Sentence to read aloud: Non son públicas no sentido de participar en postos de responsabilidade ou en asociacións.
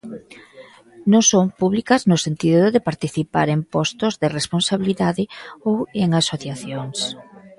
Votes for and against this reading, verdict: 1, 2, rejected